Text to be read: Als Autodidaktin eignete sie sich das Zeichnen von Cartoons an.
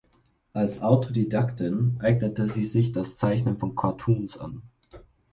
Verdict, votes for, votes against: accepted, 4, 0